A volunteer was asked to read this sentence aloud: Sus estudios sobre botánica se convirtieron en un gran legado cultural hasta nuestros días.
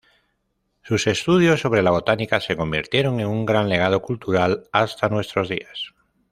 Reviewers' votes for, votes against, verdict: 0, 2, rejected